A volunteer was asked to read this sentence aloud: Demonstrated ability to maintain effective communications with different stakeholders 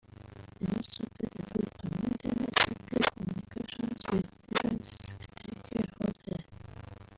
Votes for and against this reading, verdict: 0, 2, rejected